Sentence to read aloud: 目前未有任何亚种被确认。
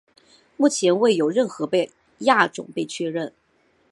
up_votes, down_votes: 2, 0